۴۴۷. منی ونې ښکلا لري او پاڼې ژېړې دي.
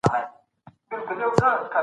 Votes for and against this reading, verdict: 0, 2, rejected